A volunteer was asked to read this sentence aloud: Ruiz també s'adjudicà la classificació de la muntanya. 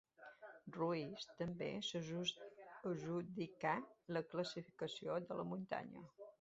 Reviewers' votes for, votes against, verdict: 0, 2, rejected